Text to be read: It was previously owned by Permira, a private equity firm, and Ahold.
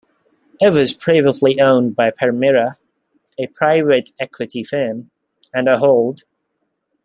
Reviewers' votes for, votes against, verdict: 2, 0, accepted